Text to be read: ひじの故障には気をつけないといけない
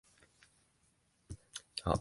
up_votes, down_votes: 1, 2